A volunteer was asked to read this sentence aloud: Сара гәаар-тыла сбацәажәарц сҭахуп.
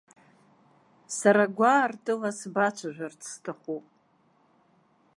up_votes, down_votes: 2, 0